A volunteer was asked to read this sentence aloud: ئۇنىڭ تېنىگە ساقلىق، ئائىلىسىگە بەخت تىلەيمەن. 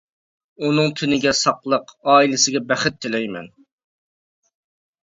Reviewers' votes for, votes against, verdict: 2, 0, accepted